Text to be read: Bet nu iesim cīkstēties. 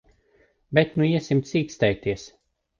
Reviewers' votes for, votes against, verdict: 1, 2, rejected